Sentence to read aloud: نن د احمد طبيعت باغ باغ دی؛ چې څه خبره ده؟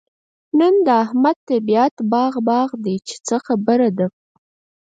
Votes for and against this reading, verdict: 0, 4, rejected